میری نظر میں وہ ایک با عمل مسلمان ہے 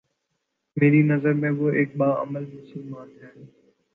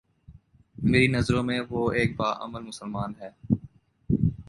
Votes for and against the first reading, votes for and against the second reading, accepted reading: 7, 0, 1, 2, first